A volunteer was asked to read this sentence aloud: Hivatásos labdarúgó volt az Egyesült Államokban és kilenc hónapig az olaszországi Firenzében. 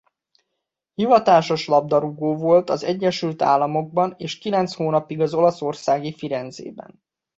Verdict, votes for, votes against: accepted, 2, 1